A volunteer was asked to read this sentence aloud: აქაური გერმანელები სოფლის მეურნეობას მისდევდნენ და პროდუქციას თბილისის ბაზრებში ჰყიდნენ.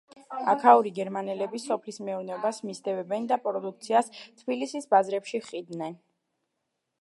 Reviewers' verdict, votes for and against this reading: rejected, 0, 2